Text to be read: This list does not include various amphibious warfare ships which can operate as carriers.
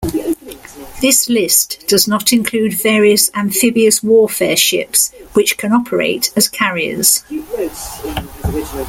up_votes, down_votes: 2, 0